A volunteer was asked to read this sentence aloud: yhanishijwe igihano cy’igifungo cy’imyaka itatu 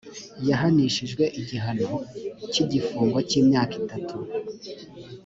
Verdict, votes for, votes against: accepted, 2, 0